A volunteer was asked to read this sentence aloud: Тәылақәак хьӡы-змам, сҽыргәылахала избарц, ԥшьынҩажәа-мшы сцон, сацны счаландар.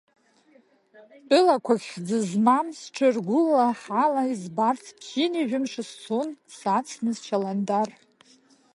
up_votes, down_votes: 0, 2